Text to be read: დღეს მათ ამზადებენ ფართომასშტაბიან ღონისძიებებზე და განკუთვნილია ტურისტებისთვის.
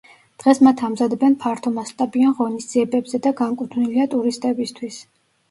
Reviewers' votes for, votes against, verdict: 1, 2, rejected